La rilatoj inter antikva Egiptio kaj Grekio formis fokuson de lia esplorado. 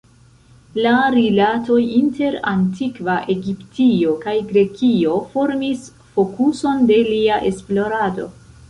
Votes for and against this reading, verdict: 1, 2, rejected